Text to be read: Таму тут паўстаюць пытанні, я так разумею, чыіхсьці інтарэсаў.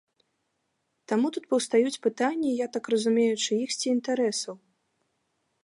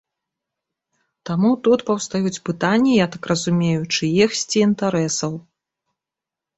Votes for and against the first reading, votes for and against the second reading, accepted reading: 2, 0, 0, 2, first